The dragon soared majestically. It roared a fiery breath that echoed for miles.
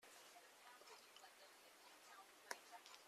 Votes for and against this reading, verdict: 0, 2, rejected